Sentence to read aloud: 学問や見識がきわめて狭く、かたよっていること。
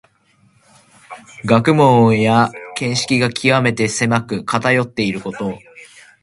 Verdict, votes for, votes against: accepted, 2, 0